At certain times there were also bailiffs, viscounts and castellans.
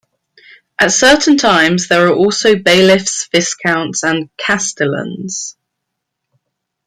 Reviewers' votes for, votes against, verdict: 1, 2, rejected